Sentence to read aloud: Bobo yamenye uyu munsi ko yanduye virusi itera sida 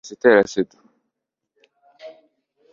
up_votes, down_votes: 1, 2